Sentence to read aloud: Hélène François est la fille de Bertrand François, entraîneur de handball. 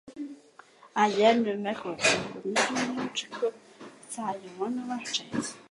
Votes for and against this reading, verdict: 0, 2, rejected